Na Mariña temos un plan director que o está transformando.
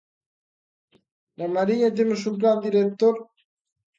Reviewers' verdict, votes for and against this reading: rejected, 0, 2